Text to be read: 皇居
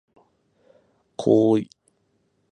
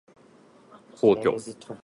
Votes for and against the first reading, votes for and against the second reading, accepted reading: 0, 18, 2, 0, second